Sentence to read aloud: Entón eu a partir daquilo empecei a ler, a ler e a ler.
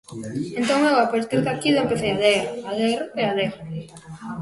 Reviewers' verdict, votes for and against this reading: rejected, 0, 2